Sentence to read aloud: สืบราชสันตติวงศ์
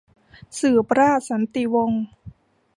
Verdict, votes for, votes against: rejected, 1, 2